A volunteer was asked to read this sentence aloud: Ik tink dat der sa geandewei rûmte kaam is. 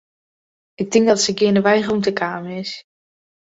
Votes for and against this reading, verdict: 1, 2, rejected